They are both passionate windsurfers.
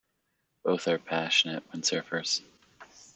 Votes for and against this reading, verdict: 0, 3, rejected